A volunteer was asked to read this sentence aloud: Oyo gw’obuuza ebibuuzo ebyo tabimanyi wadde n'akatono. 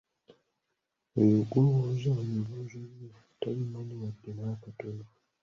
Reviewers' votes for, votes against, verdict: 0, 2, rejected